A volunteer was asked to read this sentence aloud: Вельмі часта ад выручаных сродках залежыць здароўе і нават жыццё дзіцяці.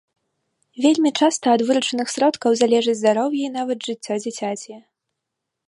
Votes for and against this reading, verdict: 2, 0, accepted